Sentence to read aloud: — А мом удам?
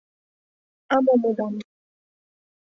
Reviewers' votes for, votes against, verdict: 2, 0, accepted